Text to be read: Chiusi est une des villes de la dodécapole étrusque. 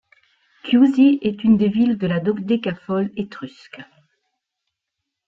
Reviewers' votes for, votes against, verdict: 0, 2, rejected